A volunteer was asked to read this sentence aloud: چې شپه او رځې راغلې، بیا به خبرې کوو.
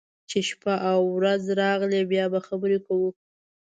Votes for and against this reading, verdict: 2, 0, accepted